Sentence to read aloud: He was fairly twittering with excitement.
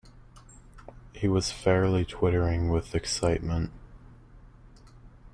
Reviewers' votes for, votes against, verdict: 1, 2, rejected